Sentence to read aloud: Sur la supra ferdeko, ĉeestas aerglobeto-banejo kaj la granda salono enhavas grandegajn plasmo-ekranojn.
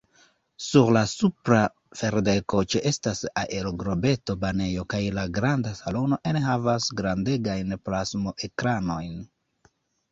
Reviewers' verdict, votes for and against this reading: rejected, 0, 2